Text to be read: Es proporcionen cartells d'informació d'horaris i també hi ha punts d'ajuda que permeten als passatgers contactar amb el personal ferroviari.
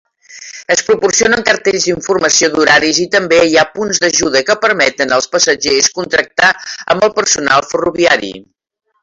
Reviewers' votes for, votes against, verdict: 0, 2, rejected